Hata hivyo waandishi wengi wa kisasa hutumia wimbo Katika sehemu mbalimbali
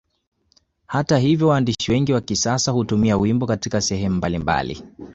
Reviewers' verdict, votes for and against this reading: accepted, 2, 1